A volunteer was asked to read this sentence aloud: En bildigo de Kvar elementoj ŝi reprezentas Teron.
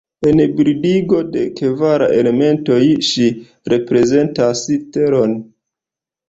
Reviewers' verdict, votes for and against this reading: rejected, 0, 3